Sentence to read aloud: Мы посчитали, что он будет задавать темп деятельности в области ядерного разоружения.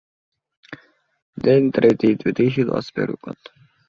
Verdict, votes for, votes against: rejected, 0, 2